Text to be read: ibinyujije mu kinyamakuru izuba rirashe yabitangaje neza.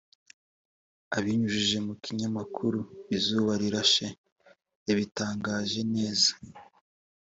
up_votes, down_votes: 1, 2